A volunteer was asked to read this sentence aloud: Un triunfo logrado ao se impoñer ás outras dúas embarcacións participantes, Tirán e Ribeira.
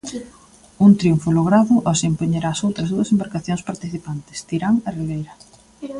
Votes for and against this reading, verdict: 2, 0, accepted